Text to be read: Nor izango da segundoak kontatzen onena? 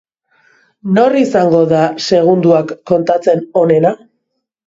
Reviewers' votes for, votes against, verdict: 2, 0, accepted